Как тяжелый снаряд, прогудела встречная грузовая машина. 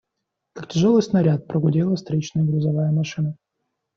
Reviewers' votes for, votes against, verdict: 2, 0, accepted